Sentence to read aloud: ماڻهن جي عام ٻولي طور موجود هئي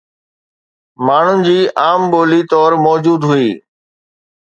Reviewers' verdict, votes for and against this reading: accepted, 2, 0